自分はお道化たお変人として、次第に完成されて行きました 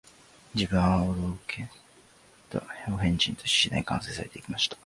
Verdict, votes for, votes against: rejected, 0, 3